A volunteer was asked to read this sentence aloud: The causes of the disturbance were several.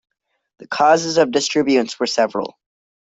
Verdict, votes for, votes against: rejected, 1, 2